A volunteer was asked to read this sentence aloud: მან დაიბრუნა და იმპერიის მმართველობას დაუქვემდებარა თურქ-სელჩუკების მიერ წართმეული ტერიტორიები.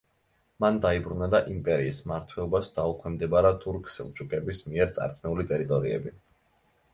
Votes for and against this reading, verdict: 2, 1, accepted